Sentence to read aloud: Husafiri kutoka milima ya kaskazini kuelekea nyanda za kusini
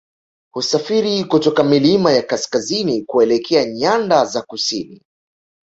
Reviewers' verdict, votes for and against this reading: rejected, 1, 2